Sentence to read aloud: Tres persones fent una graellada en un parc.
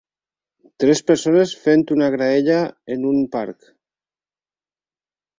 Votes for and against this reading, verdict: 0, 4, rejected